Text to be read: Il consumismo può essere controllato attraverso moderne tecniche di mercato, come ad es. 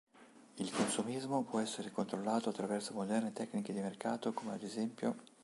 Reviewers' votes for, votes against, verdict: 0, 3, rejected